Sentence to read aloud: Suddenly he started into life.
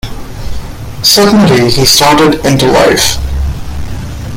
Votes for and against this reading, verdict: 2, 0, accepted